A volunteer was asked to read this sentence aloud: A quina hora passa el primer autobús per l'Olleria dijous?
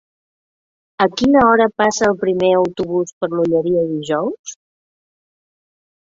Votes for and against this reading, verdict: 2, 0, accepted